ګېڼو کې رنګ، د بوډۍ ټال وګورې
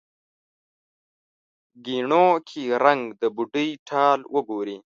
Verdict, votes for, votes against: rejected, 1, 2